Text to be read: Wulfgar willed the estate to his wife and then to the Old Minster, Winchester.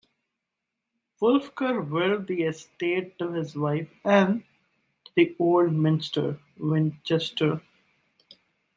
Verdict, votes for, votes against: accepted, 2, 1